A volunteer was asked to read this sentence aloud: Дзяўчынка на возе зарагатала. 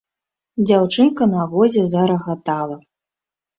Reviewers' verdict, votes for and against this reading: accepted, 2, 0